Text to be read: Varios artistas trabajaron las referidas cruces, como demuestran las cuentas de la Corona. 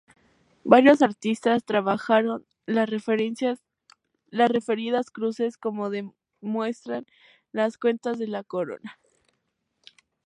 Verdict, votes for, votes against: rejected, 0, 2